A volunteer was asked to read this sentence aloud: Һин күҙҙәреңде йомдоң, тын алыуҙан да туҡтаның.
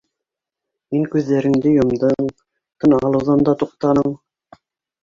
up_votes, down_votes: 1, 2